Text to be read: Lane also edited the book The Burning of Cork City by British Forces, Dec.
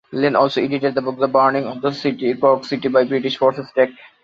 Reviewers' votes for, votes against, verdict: 0, 2, rejected